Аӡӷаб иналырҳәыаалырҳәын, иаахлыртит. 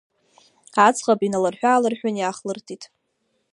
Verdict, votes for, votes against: accepted, 2, 1